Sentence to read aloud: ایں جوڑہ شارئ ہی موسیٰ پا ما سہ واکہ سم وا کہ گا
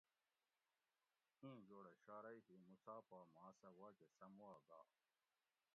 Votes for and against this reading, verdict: 0, 2, rejected